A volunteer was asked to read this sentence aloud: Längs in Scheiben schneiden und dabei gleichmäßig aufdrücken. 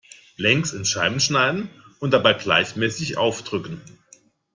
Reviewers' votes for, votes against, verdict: 2, 0, accepted